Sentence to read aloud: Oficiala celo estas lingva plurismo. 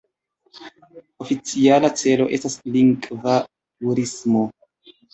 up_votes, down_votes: 1, 2